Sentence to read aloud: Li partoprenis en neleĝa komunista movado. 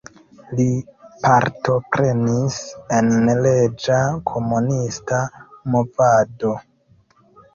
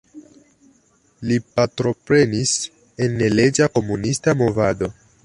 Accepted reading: second